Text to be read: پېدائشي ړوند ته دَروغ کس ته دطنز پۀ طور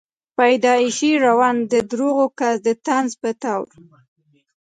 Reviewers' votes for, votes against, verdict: 2, 0, accepted